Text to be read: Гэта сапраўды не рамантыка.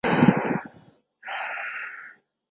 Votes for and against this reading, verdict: 0, 2, rejected